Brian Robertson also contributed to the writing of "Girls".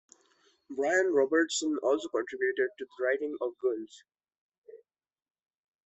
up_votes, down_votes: 2, 0